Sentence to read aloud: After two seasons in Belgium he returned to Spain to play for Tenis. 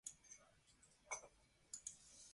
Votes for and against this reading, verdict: 0, 2, rejected